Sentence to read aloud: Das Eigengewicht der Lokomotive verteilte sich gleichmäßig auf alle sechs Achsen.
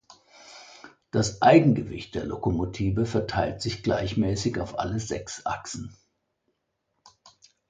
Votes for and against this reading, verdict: 0, 2, rejected